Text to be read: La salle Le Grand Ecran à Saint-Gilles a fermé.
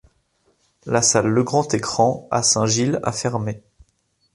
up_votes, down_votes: 3, 0